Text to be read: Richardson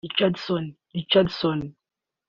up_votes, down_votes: 0, 2